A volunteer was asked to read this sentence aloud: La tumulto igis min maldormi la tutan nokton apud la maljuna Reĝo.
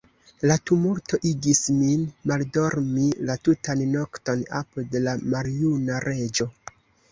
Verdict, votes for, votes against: rejected, 0, 2